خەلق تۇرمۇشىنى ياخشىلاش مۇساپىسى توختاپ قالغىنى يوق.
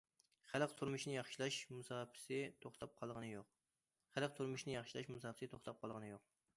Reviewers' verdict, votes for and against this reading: rejected, 1, 2